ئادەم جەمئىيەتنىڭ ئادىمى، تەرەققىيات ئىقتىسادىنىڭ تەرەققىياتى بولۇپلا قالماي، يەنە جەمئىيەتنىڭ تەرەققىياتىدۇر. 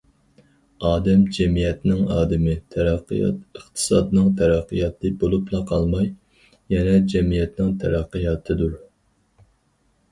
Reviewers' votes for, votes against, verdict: 2, 2, rejected